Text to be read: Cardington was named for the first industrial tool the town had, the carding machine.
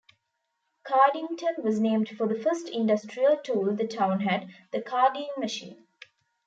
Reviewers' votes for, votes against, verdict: 2, 0, accepted